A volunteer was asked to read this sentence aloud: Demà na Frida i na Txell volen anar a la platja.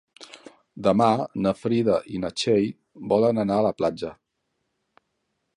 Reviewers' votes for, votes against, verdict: 3, 1, accepted